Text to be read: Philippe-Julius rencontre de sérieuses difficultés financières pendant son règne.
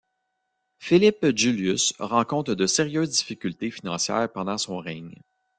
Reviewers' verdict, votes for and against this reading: rejected, 0, 2